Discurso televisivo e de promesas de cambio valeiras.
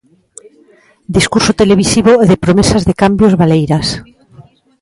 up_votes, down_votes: 1, 2